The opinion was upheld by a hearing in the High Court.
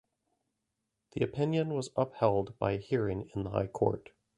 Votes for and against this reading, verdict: 2, 0, accepted